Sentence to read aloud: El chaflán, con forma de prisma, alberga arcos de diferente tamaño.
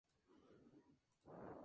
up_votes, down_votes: 0, 2